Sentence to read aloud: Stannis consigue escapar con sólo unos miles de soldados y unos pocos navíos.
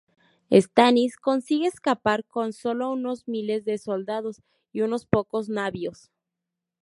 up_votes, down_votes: 2, 2